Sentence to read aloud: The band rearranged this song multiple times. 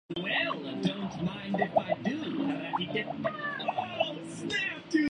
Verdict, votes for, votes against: rejected, 0, 2